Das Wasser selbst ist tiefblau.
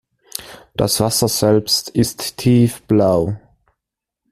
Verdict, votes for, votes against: accepted, 2, 0